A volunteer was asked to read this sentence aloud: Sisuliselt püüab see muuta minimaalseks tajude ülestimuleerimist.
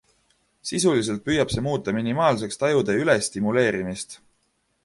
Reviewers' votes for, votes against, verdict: 2, 1, accepted